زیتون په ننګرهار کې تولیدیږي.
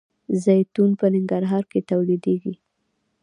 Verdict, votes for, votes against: accepted, 2, 0